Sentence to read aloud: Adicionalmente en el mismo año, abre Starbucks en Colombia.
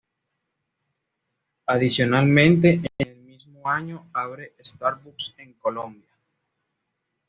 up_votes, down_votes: 2, 0